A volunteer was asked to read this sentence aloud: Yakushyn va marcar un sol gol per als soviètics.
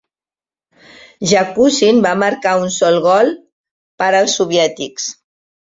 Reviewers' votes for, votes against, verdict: 4, 0, accepted